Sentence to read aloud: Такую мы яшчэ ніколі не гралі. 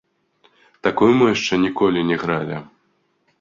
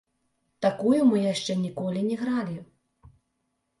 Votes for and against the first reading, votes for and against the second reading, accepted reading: 2, 0, 1, 2, first